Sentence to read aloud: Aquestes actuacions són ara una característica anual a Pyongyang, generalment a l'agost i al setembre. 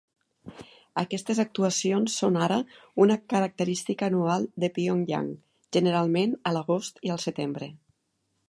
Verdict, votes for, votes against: rejected, 0, 3